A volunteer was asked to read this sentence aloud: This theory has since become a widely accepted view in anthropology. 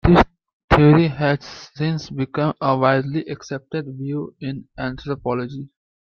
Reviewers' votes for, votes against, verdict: 2, 1, accepted